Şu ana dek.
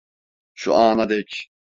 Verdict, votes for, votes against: accepted, 2, 0